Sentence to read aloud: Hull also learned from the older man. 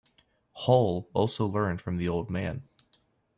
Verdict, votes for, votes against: rejected, 0, 2